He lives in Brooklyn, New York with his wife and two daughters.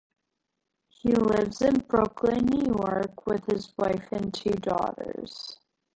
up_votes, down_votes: 0, 2